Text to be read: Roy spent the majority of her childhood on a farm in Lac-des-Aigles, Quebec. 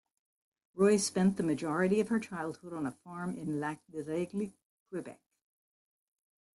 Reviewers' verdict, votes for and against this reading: accepted, 2, 1